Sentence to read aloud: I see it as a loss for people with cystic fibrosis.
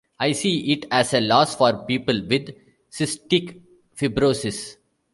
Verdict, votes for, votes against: rejected, 1, 2